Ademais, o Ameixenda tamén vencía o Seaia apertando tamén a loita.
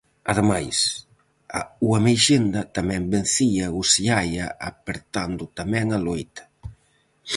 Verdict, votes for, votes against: rejected, 0, 4